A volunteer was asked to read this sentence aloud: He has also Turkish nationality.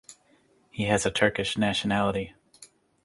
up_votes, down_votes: 0, 2